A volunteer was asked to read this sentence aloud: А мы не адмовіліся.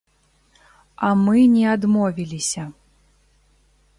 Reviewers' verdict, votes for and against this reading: accepted, 2, 0